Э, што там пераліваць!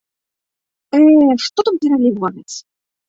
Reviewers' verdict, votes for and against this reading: rejected, 0, 2